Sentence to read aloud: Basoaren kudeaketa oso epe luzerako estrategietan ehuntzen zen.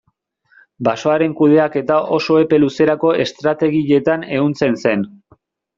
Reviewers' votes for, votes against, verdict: 2, 0, accepted